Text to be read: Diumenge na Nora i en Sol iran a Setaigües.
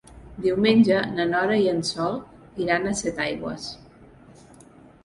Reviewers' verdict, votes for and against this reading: accepted, 3, 0